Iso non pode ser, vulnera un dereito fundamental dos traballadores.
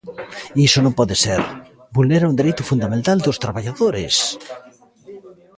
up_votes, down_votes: 1, 2